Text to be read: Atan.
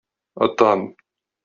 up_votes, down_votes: 0, 2